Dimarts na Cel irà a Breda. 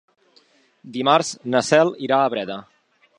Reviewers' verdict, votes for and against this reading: accepted, 4, 0